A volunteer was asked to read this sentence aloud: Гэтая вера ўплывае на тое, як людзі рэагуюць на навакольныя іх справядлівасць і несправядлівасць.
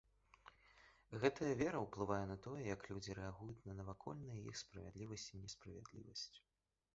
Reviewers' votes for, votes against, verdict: 2, 0, accepted